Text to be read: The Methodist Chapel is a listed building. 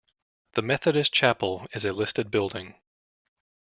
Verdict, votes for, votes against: accepted, 2, 0